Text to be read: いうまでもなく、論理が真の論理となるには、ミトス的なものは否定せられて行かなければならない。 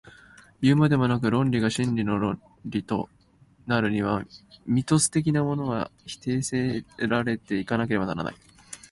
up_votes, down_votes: 1, 2